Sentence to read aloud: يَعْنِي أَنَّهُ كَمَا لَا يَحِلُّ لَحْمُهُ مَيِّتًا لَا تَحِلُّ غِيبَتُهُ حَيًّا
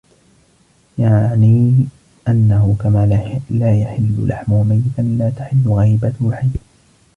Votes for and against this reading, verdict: 0, 2, rejected